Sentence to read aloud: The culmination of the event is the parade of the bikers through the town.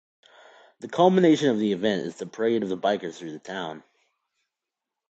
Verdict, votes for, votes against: accepted, 2, 0